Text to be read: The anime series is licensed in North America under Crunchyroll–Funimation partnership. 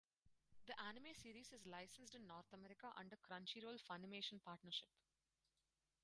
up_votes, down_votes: 2, 4